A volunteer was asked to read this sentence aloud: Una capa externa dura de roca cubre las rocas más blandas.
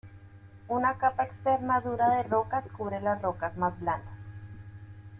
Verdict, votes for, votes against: rejected, 1, 2